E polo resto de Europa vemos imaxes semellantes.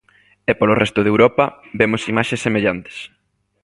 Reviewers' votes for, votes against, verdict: 2, 0, accepted